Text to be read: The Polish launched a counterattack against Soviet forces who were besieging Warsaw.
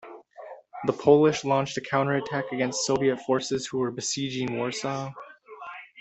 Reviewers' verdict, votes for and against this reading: accepted, 3, 0